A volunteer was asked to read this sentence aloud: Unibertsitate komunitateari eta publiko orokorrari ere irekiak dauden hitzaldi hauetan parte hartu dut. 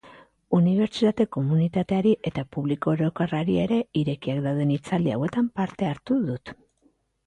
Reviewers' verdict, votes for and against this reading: accepted, 2, 0